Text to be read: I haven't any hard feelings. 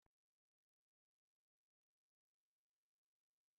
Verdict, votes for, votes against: rejected, 0, 3